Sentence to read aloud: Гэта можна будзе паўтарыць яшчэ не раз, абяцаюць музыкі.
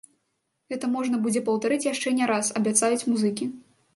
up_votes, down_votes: 2, 0